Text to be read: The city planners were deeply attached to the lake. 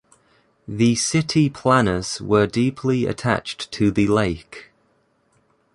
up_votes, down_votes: 2, 0